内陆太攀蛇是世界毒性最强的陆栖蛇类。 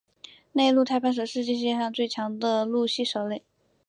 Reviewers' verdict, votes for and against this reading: accepted, 3, 2